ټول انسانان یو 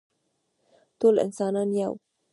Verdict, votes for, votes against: rejected, 1, 2